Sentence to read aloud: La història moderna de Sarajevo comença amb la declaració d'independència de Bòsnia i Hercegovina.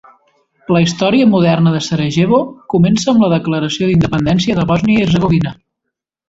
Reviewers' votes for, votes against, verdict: 2, 0, accepted